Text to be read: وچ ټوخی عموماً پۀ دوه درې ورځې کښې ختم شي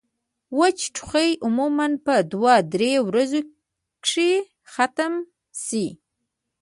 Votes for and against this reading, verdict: 0, 2, rejected